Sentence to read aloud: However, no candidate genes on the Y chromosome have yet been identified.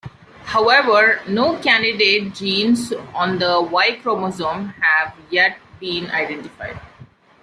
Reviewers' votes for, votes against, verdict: 2, 0, accepted